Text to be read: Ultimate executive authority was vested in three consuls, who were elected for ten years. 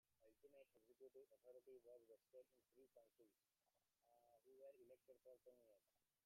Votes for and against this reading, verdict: 0, 2, rejected